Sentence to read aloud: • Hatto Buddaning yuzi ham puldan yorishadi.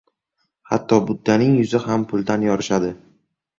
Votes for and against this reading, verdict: 2, 2, rejected